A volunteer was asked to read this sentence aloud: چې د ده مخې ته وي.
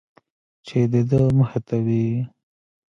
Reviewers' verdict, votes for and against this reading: rejected, 0, 2